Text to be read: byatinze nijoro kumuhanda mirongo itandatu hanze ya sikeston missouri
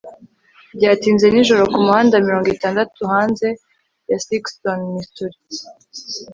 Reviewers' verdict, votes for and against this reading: accepted, 2, 0